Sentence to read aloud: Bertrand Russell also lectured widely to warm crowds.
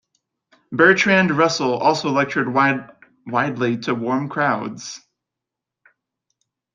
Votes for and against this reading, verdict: 1, 2, rejected